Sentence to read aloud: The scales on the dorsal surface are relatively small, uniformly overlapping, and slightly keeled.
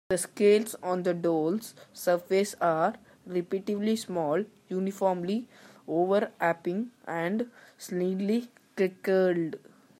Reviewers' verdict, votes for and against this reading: rejected, 0, 2